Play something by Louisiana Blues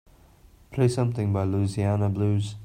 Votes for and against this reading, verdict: 3, 0, accepted